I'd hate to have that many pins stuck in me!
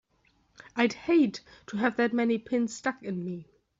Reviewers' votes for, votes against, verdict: 2, 0, accepted